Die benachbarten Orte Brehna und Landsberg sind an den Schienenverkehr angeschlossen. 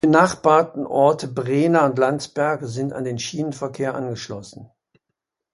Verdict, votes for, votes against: rejected, 0, 2